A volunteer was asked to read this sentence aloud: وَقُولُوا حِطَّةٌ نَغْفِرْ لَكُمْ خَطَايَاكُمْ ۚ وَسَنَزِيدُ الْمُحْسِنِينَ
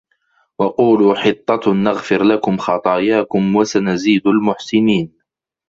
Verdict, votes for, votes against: accepted, 2, 0